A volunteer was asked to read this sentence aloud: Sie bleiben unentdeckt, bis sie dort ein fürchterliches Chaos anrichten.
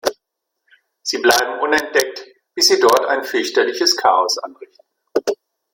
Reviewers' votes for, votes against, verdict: 2, 1, accepted